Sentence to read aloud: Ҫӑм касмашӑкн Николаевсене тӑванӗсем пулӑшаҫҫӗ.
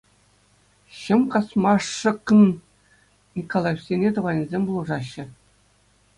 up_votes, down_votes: 2, 1